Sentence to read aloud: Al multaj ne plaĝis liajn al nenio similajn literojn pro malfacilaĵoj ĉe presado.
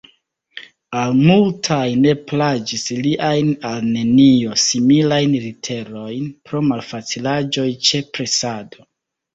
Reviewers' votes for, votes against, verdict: 2, 1, accepted